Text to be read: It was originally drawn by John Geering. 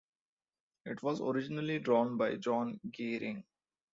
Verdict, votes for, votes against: accepted, 2, 0